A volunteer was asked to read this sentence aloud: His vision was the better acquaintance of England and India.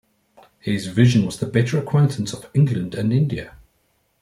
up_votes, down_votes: 2, 0